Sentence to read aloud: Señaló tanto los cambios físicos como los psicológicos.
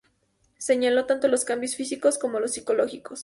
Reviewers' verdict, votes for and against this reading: accepted, 2, 0